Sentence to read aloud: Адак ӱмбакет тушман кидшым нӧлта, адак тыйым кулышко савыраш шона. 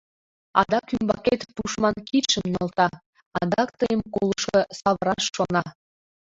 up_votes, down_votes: 0, 2